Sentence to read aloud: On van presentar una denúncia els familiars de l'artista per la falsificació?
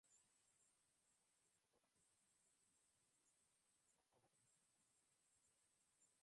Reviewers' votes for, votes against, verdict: 0, 2, rejected